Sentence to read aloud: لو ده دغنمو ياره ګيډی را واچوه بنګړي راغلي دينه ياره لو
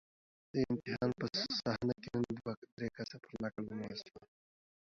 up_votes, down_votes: 0, 2